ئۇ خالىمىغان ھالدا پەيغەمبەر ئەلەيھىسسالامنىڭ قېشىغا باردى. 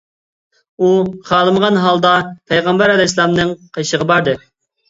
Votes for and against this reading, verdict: 0, 2, rejected